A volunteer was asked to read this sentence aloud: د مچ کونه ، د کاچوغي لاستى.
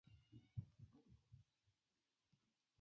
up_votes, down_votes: 0, 2